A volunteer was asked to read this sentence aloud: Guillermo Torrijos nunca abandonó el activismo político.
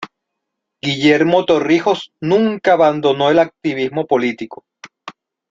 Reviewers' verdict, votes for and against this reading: accepted, 2, 0